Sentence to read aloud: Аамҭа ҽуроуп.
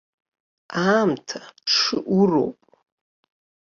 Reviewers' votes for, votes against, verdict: 1, 2, rejected